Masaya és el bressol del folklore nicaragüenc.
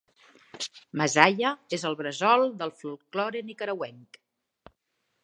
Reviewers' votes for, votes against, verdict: 3, 0, accepted